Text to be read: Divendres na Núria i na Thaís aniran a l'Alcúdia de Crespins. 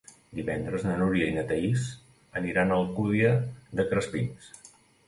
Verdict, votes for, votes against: rejected, 1, 2